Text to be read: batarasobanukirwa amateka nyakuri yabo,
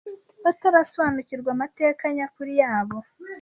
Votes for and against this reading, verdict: 2, 0, accepted